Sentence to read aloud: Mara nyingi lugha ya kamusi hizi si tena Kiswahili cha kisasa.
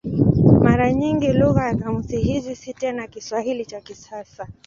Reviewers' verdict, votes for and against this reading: accepted, 13, 0